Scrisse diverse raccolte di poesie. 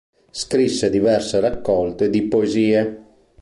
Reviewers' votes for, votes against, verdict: 2, 0, accepted